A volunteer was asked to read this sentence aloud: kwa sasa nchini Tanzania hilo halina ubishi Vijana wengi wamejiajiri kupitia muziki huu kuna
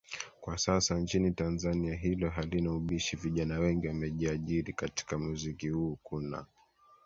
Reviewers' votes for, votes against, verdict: 1, 2, rejected